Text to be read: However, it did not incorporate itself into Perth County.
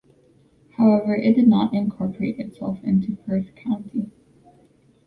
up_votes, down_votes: 0, 2